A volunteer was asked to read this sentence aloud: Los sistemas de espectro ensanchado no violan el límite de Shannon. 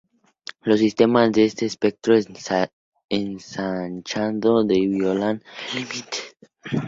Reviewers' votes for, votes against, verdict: 0, 2, rejected